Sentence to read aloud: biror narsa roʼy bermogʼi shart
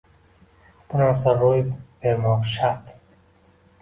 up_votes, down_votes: 0, 2